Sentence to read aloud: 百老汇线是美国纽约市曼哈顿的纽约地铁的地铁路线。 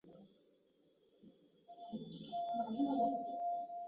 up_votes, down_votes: 0, 2